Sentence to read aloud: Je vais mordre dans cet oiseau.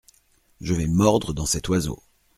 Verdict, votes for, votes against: accepted, 2, 0